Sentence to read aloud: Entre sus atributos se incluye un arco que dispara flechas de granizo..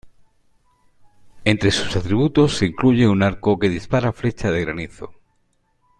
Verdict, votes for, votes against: accepted, 2, 1